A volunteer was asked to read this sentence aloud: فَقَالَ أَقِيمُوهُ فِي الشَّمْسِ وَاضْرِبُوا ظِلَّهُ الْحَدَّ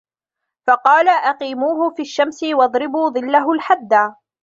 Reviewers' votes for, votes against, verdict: 2, 0, accepted